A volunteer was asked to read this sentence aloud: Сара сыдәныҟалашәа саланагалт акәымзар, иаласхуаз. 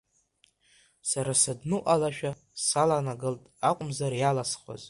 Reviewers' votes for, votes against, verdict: 0, 2, rejected